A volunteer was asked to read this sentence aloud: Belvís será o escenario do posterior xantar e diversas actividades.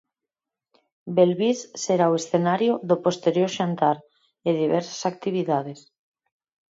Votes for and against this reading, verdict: 4, 0, accepted